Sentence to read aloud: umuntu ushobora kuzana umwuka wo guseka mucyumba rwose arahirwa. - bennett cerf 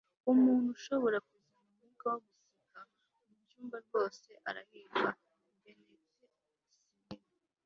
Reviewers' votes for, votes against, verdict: 0, 2, rejected